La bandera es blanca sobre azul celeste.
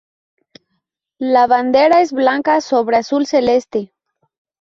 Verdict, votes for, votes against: accepted, 2, 0